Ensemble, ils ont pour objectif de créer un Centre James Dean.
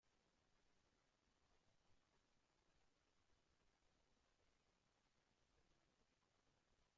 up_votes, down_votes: 0, 2